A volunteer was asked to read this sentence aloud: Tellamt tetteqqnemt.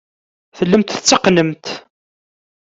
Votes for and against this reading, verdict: 2, 0, accepted